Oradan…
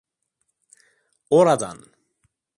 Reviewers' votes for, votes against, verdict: 2, 0, accepted